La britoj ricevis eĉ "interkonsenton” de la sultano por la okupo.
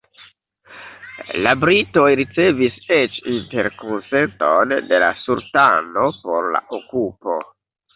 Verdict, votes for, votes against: rejected, 1, 2